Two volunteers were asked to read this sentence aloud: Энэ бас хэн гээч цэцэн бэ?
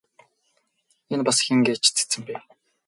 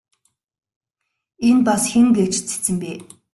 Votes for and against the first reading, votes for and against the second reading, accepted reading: 2, 2, 2, 1, second